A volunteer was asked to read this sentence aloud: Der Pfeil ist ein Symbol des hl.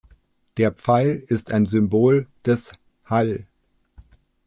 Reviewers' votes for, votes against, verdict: 1, 2, rejected